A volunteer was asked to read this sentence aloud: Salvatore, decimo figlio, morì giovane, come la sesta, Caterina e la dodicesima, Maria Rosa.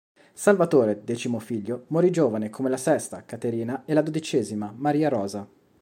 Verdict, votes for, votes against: accepted, 2, 0